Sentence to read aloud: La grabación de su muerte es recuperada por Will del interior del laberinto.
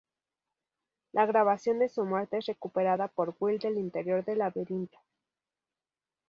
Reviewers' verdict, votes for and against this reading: accepted, 4, 0